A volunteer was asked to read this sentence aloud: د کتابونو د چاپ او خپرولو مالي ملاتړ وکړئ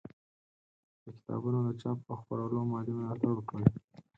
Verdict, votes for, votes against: rejected, 2, 4